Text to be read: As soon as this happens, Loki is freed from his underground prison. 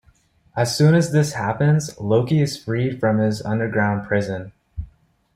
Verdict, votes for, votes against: accepted, 2, 0